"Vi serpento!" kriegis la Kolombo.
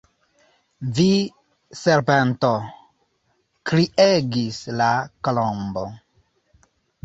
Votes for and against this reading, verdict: 0, 2, rejected